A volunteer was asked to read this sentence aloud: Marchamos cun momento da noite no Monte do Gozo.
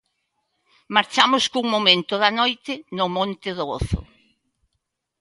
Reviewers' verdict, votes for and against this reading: accepted, 2, 0